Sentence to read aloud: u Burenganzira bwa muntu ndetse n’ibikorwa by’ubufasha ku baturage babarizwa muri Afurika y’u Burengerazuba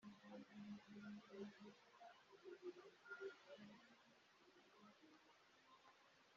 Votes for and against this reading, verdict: 3, 4, rejected